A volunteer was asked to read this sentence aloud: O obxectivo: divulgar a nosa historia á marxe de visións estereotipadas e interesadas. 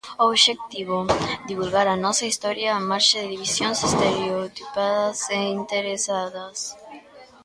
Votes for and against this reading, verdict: 0, 2, rejected